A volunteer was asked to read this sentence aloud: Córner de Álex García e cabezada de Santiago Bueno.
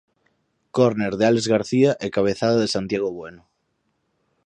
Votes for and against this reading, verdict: 4, 0, accepted